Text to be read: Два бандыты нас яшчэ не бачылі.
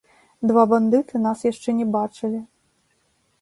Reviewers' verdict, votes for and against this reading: accepted, 4, 0